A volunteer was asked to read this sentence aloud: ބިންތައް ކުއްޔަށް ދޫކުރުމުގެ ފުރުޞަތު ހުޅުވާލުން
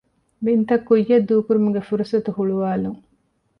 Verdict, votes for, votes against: accepted, 2, 0